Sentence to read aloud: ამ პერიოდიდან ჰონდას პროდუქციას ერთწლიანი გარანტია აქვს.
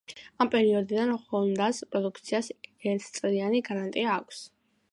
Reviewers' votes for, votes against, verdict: 2, 0, accepted